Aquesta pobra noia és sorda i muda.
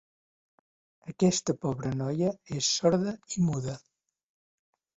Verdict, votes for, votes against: accepted, 3, 0